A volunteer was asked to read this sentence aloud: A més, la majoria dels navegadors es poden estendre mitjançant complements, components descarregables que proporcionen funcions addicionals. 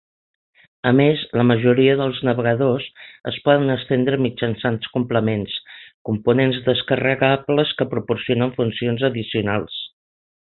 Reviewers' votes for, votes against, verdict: 6, 0, accepted